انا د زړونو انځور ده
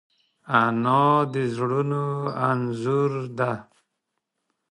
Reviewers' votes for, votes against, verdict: 2, 0, accepted